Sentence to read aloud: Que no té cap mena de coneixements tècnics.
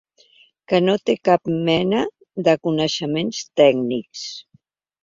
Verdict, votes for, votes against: accepted, 3, 0